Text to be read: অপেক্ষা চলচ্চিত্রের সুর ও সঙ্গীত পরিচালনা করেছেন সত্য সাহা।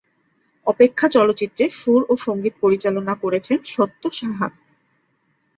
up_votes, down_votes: 12, 0